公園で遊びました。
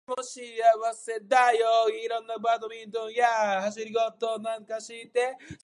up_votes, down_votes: 0, 2